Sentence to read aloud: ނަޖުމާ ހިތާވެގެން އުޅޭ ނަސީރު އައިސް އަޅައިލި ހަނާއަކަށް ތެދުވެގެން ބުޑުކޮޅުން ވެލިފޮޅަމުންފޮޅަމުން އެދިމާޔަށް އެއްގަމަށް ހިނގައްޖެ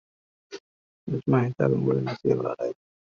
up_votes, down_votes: 0, 2